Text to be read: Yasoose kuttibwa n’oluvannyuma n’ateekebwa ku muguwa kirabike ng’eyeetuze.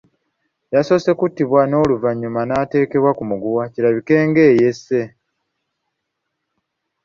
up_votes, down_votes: 0, 2